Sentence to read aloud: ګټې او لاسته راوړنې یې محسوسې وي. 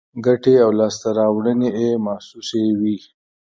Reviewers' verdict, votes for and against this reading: accepted, 2, 0